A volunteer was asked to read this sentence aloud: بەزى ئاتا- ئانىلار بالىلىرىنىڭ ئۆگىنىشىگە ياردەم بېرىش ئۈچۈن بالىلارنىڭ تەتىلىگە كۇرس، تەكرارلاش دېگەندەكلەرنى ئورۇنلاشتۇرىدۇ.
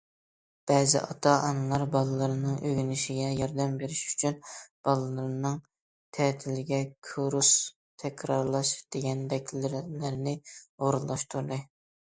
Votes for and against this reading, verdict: 0, 2, rejected